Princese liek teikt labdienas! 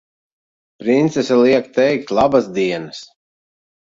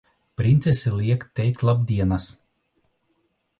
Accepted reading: second